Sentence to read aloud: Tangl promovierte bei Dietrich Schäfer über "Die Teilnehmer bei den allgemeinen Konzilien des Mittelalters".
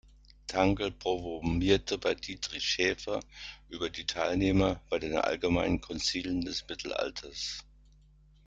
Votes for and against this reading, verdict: 1, 2, rejected